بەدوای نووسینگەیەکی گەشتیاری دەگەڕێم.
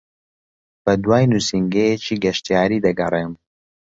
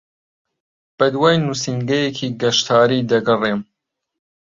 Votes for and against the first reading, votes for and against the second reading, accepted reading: 2, 0, 1, 2, first